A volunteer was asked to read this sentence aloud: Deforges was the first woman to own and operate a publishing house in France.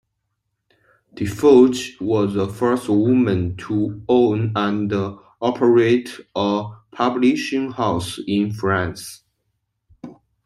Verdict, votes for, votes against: rejected, 0, 2